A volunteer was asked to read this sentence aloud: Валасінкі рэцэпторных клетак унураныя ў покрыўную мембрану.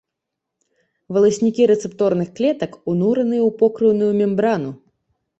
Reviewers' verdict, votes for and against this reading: rejected, 0, 2